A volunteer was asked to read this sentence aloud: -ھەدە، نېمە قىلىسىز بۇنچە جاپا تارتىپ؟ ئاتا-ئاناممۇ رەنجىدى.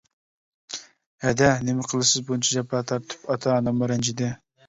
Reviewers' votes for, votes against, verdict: 2, 0, accepted